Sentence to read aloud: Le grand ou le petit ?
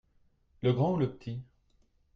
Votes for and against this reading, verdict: 1, 2, rejected